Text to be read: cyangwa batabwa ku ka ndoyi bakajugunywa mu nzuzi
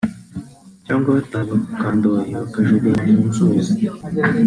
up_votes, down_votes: 1, 2